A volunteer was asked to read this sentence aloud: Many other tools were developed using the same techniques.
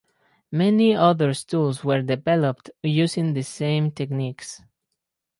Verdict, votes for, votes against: rejected, 2, 2